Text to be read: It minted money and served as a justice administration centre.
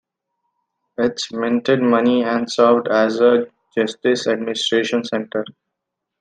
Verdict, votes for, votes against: accepted, 2, 0